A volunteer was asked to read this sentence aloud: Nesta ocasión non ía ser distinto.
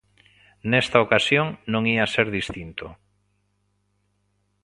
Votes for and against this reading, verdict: 4, 2, accepted